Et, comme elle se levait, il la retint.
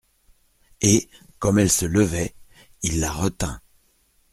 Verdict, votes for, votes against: accepted, 2, 0